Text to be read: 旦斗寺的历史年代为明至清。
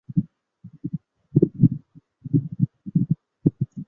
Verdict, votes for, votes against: rejected, 0, 2